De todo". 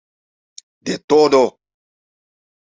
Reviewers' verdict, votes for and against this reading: accepted, 2, 0